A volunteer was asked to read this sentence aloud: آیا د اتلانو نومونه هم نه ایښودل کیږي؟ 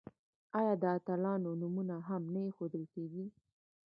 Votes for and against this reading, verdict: 1, 2, rejected